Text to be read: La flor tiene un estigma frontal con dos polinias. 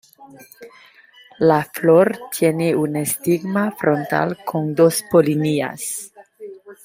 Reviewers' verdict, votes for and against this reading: accepted, 2, 0